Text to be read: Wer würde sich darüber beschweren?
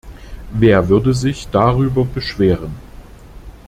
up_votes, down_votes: 2, 0